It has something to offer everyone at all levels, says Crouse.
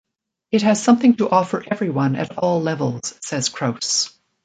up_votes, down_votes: 2, 0